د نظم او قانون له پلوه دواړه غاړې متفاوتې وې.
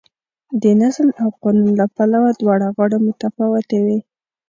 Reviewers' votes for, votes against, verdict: 2, 0, accepted